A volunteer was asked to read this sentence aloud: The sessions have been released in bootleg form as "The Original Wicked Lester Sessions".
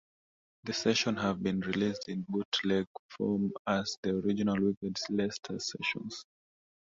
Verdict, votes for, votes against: rejected, 0, 2